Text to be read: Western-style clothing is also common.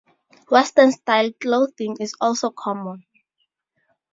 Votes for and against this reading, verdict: 4, 0, accepted